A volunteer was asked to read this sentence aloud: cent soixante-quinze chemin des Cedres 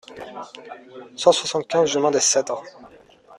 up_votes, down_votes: 0, 2